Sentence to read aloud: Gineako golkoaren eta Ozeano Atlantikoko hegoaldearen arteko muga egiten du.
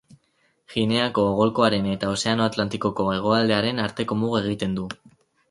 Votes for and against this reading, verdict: 2, 4, rejected